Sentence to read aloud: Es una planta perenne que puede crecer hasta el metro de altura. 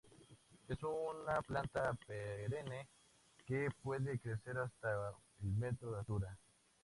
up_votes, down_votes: 0, 2